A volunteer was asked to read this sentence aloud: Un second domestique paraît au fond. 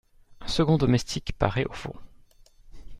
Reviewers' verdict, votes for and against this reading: accepted, 2, 0